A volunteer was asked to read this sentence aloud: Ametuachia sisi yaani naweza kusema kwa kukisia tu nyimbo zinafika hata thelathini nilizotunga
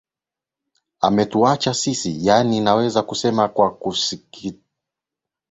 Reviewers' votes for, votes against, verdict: 0, 2, rejected